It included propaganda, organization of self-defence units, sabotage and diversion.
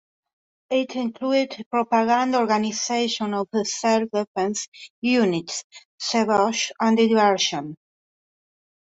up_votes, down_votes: 0, 2